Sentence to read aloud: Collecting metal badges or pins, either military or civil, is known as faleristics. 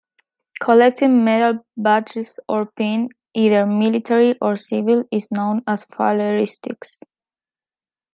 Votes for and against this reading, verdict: 2, 1, accepted